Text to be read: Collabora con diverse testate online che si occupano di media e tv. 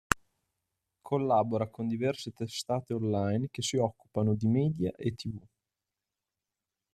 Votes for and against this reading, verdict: 2, 0, accepted